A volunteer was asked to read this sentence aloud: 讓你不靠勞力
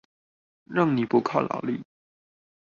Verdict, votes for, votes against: accepted, 2, 0